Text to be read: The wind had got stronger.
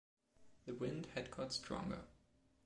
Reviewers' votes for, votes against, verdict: 1, 2, rejected